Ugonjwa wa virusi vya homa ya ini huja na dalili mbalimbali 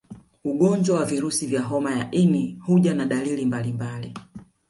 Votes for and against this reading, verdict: 3, 1, accepted